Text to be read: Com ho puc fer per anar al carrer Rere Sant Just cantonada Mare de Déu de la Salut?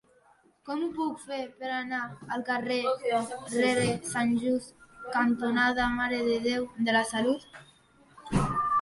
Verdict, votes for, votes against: rejected, 1, 3